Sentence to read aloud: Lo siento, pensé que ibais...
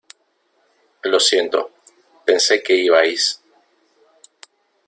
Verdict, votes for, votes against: rejected, 1, 2